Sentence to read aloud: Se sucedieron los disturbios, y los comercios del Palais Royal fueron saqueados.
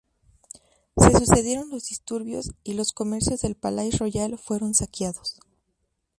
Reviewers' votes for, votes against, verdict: 0, 2, rejected